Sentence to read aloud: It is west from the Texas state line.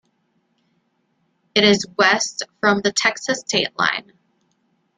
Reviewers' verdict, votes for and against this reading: rejected, 0, 2